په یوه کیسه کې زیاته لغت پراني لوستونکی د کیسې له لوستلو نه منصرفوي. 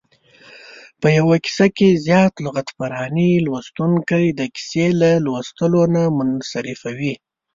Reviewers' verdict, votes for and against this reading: rejected, 1, 2